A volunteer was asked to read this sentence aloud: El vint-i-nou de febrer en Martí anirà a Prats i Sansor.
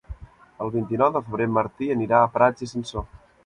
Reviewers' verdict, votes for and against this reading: rejected, 0, 2